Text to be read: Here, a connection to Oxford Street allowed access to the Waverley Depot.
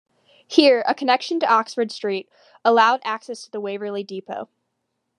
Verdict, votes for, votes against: accepted, 2, 0